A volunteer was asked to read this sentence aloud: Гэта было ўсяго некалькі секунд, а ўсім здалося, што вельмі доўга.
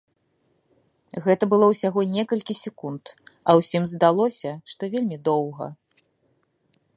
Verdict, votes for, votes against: accepted, 2, 0